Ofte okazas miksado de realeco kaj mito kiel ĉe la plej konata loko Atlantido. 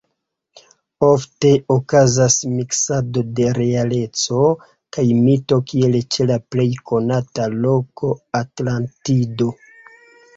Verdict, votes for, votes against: accepted, 2, 1